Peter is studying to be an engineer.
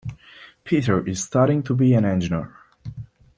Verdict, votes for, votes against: rejected, 1, 2